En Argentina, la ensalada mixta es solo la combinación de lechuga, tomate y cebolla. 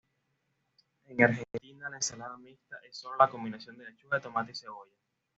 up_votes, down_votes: 2, 0